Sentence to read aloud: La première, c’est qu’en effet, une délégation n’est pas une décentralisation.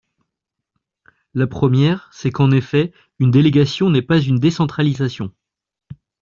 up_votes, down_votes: 2, 0